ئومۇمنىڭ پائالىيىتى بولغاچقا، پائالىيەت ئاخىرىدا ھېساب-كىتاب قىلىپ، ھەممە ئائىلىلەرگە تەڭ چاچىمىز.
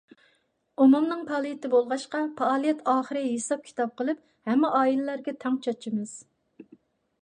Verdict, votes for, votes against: rejected, 0, 2